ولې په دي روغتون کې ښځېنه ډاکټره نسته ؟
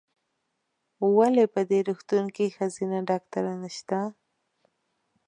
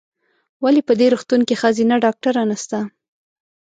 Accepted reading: first